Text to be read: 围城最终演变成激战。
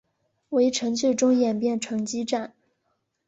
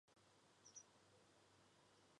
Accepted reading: first